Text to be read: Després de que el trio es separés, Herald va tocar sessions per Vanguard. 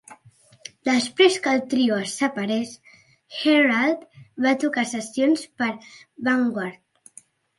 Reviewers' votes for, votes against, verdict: 0, 3, rejected